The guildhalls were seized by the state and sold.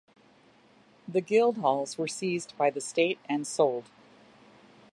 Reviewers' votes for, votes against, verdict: 2, 0, accepted